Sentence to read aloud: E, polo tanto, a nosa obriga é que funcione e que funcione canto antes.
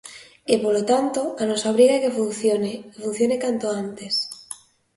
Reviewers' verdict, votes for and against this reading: accepted, 2, 1